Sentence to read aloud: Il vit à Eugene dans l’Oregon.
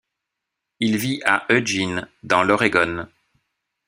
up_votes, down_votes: 1, 2